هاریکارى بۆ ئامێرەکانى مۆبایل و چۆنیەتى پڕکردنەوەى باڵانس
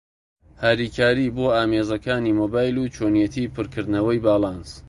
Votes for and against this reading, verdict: 0, 2, rejected